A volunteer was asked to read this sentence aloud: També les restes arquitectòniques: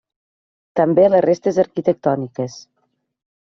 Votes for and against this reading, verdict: 3, 0, accepted